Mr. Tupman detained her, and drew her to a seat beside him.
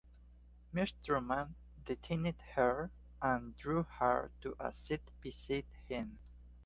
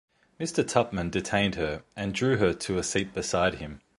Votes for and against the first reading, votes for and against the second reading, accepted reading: 0, 2, 2, 0, second